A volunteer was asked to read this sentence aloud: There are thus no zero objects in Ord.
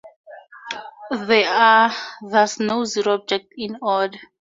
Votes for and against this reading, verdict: 0, 2, rejected